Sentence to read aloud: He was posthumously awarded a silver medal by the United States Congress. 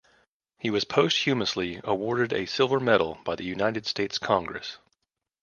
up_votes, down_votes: 2, 0